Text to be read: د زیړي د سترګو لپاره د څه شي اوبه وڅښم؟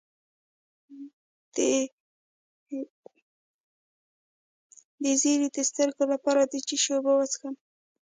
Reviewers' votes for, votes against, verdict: 1, 2, rejected